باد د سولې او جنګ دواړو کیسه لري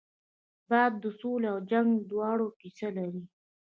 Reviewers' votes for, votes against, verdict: 2, 0, accepted